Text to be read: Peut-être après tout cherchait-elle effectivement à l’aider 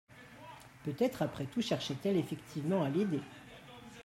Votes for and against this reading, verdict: 2, 1, accepted